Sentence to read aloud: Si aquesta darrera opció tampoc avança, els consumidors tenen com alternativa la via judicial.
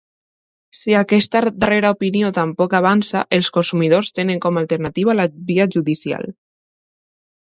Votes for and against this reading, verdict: 1, 2, rejected